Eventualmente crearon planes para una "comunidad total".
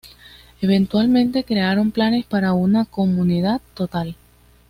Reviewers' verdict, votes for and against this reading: accepted, 2, 0